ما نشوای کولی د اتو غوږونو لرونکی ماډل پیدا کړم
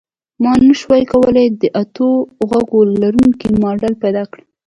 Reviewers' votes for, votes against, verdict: 2, 0, accepted